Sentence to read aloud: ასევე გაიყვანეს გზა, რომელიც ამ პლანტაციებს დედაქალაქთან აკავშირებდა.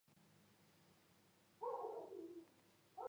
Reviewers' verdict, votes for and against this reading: rejected, 0, 2